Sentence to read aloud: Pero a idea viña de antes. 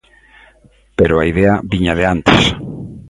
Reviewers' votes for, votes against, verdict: 2, 0, accepted